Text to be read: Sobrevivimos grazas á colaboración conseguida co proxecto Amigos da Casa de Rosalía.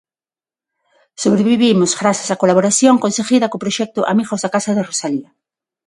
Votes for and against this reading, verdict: 6, 0, accepted